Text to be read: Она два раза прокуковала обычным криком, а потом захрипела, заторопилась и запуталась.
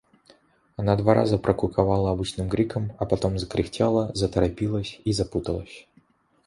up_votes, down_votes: 0, 2